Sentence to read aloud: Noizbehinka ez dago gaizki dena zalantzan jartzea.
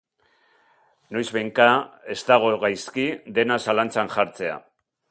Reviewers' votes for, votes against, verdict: 2, 1, accepted